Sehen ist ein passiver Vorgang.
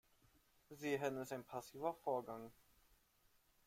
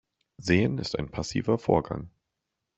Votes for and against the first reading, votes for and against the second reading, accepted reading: 1, 2, 3, 0, second